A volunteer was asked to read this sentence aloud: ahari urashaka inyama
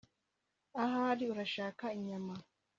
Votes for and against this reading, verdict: 2, 0, accepted